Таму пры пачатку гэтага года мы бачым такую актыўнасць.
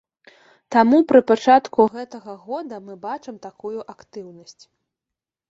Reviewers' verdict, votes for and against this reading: accepted, 2, 1